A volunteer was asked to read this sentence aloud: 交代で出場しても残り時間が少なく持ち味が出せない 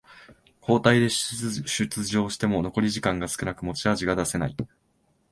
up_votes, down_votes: 1, 2